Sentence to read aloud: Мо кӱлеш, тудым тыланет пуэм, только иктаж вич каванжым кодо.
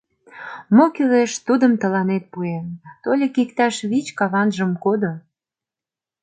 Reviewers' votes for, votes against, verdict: 0, 2, rejected